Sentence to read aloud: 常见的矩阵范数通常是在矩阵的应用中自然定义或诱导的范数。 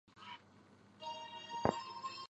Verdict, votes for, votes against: rejected, 0, 2